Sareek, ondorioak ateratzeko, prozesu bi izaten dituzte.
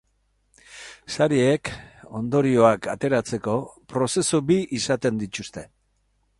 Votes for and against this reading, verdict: 2, 0, accepted